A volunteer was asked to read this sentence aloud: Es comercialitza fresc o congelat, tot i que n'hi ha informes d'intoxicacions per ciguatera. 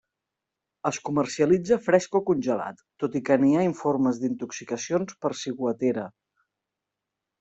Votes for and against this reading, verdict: 2, 0, accepted